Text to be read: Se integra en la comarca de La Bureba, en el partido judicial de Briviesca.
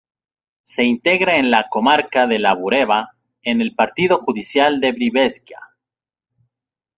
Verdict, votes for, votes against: rejected, 0, 2